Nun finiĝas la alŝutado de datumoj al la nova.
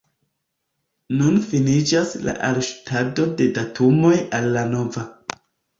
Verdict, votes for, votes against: rejected, 1, 2